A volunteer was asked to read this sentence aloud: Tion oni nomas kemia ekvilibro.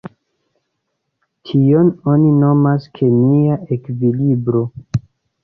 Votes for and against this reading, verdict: 2, 0, accepted